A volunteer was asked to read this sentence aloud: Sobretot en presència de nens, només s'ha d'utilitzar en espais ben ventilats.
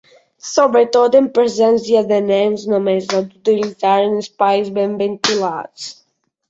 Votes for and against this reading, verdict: 2, 1, accepted